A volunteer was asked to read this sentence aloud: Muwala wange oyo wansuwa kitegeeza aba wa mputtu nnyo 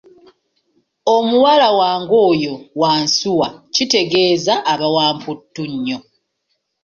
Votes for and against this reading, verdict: 0, 2, rejected